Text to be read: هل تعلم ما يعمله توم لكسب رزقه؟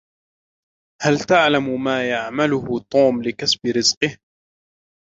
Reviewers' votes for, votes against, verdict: 2, 0, accepted